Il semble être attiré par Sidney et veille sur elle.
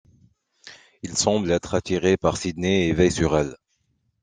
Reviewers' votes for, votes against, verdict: 2, 1, accepted